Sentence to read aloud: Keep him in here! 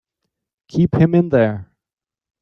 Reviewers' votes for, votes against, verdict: 0, 4, rejected